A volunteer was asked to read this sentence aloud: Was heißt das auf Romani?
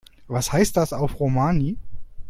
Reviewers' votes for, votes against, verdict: 2, 0, accepted